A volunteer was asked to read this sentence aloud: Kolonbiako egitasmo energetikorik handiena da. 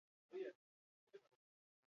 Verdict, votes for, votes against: rejected, 2, 2